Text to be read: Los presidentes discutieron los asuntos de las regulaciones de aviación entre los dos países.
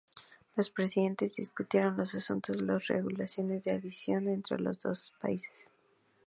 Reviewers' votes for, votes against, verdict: 4, 0, accepted